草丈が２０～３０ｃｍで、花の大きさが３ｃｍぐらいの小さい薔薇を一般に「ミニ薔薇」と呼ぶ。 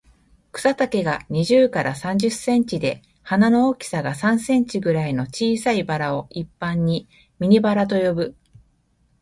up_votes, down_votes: 0, 2